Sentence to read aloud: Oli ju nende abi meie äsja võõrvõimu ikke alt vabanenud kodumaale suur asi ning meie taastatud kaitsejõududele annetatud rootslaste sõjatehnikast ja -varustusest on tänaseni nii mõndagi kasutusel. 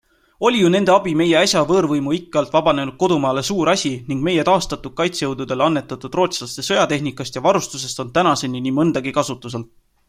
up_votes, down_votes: 2, 0